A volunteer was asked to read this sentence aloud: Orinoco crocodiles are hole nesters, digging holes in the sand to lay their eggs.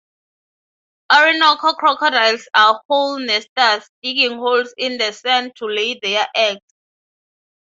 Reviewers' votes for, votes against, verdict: 3, 0, accepted